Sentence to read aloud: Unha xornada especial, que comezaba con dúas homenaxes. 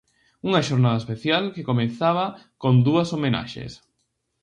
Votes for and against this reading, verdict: 0, 2, rejected